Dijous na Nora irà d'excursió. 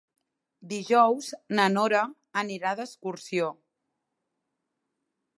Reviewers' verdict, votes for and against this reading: rejected, 0, 2